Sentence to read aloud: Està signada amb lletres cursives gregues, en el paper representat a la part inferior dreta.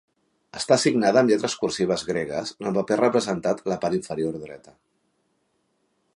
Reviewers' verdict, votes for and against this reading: rejected, 1, 2